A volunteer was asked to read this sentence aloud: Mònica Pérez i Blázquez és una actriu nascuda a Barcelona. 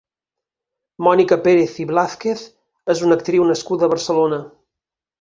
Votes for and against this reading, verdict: 6, 0, accepted